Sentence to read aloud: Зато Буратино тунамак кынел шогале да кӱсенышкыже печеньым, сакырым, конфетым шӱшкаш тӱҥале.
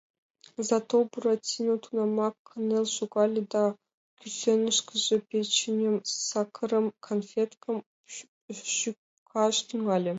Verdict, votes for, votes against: rejected, 1, 2